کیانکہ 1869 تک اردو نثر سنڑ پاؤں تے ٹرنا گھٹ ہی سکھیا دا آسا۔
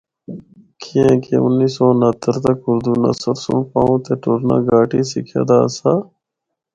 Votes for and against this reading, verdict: 0, 2, rejected